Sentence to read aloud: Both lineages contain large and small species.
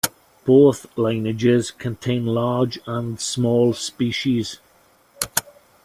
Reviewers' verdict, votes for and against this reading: accepted, 2, 0